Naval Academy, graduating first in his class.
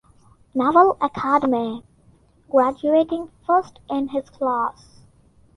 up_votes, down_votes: 2, 0